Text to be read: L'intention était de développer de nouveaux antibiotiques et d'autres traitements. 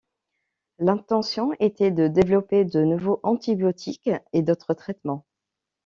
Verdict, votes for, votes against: rejected, 0, 2